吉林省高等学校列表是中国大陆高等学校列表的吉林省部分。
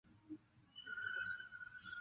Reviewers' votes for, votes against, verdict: 0, 2, rejected